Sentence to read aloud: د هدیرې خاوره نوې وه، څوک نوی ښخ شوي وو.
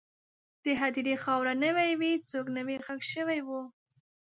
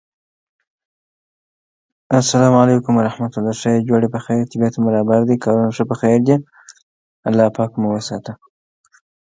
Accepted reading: first